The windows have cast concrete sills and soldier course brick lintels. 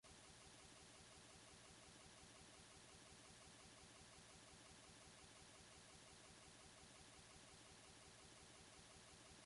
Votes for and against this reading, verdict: 0, 2, rejected